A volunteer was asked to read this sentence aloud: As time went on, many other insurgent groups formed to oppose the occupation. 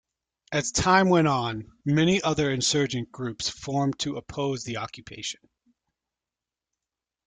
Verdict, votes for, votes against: accepted, 2, 0